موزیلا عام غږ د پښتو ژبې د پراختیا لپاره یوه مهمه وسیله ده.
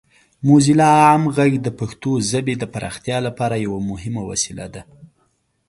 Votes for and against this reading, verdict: 2, 0, accepted